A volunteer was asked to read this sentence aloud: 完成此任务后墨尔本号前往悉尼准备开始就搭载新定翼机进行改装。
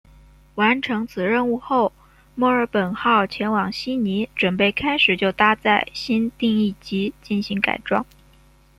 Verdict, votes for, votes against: rejected, 1, 2